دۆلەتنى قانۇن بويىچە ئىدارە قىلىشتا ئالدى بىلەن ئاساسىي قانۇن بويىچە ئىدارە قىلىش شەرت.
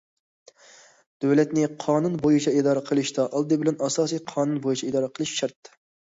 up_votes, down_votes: 2, 0